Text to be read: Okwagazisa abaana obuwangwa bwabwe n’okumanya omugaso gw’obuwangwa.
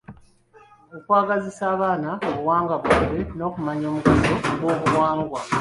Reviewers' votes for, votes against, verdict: 2, 0, accepted